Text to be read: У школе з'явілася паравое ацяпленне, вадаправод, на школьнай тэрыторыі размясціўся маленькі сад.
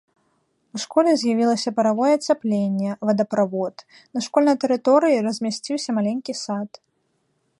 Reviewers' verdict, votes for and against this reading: accepted, 2, 0